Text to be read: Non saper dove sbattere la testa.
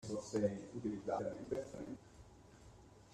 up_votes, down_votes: 0, 2